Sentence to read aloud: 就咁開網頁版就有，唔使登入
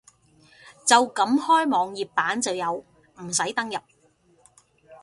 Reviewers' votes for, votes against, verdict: 2, 0, accepted